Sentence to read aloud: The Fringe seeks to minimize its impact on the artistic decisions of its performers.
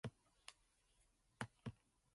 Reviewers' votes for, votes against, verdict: 0, 2, rejected